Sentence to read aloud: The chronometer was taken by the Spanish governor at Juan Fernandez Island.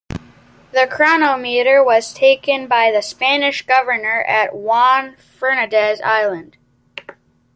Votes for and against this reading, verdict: 2, 0, accepted